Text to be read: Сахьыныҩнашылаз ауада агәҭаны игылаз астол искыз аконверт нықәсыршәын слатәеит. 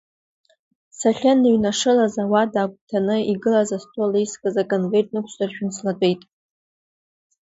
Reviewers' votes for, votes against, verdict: 0, 2, rejected